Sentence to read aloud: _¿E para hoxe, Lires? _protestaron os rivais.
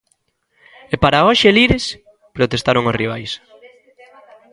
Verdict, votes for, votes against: accepted, 3, 0